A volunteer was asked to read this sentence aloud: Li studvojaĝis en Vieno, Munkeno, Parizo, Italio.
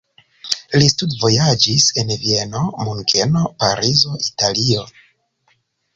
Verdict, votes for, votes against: rejected, 1, 2